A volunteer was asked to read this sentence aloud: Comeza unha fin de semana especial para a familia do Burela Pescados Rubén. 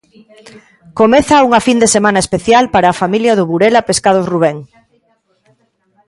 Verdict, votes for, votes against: accepted, 2, 0